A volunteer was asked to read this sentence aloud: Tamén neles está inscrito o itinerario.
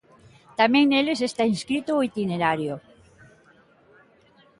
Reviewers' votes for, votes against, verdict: 2, 0, accepted